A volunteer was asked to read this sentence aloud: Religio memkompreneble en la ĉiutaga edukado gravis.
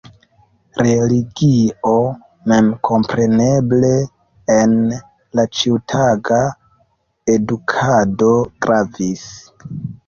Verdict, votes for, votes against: rejected, 1, 2